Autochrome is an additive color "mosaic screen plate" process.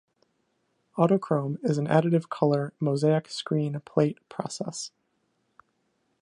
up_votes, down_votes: 2, 1